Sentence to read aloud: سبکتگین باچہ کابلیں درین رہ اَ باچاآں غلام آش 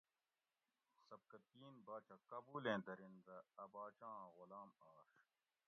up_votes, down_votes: 0, 2